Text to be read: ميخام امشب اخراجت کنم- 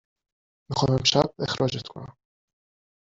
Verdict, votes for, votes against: rejected, 1, 2